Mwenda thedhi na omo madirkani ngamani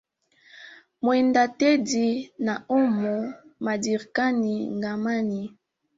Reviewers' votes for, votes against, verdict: 0, 2, rejected